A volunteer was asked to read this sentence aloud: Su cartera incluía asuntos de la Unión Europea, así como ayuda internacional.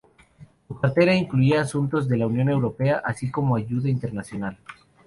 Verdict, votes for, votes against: accepted, 4, 0